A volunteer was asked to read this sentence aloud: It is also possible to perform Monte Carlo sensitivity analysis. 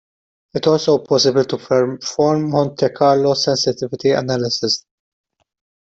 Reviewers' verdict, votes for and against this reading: rejected, 0, 2